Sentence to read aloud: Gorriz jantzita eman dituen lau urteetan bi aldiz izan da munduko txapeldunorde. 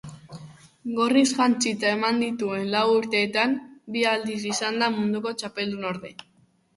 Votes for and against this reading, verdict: 2, 0, accepted